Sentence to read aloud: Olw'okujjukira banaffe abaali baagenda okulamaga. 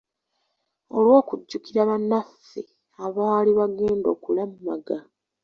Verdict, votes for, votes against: accepted, 2, 0